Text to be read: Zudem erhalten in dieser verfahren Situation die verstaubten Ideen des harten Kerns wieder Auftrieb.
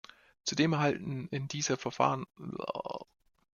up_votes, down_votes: 0, 2